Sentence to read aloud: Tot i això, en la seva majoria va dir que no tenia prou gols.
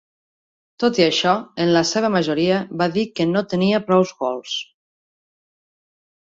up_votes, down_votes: 0, 2